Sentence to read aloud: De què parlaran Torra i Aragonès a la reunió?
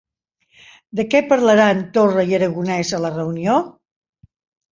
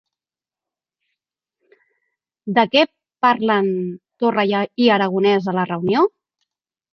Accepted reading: first